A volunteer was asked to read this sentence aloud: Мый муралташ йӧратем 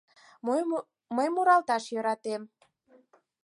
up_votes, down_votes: 2, 4